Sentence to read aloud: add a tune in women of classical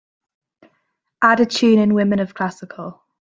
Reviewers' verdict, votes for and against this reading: accepted, 2, 0